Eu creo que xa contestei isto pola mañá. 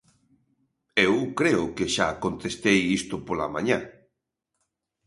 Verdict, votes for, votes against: accepted, 2, 0